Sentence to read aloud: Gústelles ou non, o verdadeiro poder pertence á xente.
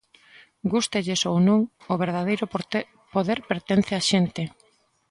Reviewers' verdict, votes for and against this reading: rejected, 0, 2